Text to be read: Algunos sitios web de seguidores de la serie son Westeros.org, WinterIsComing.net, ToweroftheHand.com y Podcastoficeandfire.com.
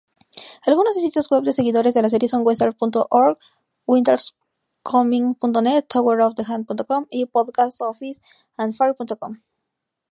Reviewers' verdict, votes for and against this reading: rejected, 0, 2